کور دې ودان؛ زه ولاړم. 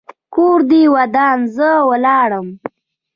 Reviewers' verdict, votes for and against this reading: rejected, 0, 2